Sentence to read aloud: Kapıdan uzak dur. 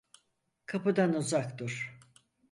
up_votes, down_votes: 4, 2